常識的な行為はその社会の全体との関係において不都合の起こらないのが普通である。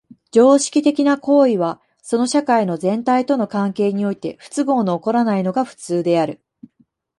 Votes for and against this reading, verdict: 2, 0, accepted